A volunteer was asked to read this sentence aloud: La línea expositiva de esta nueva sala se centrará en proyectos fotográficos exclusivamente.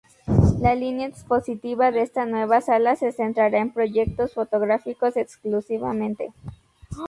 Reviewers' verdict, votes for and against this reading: rejected, 0, 2